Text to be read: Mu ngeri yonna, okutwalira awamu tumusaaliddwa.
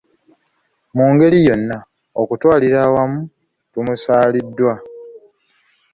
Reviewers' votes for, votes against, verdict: 2, 0, accepted